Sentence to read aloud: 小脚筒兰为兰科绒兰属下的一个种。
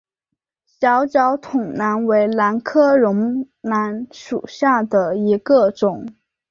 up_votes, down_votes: 2, 1